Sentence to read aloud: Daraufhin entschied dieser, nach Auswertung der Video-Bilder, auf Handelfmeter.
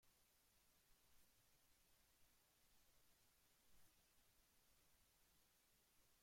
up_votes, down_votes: 0, 2